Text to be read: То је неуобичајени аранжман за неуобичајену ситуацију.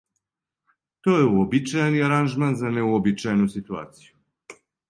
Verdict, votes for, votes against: rejected, 0, 2